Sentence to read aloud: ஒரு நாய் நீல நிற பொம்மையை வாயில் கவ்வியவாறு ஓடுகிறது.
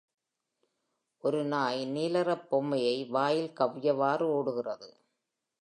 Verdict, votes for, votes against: accepted, 2, 0